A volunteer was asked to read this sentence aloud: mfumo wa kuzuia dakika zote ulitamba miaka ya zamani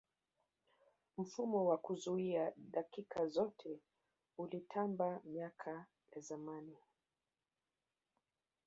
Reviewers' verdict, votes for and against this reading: accepted, 5, 4